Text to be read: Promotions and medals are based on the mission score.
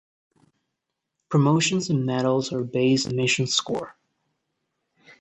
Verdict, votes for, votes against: rejected, 0, 2